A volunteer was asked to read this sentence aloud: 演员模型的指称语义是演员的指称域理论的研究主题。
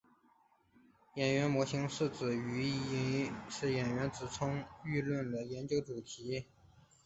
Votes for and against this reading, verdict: 0, 2, rejected